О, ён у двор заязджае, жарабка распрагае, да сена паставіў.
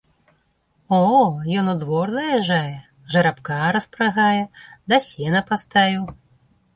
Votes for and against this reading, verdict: 2, 0, accepted